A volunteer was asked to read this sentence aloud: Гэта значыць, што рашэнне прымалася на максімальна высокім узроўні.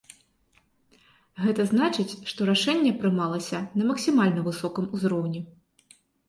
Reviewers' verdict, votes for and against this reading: rejected, 1, 3